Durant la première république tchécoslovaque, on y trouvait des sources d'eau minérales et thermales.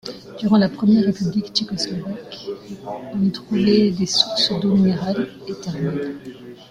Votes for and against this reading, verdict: 0, 2, rejected